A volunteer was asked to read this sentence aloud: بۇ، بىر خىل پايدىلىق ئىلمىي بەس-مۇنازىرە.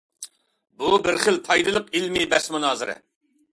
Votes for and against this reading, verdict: 2, 0, accepted